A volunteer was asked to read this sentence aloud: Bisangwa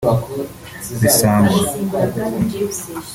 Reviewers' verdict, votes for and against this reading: accepted, 2, 1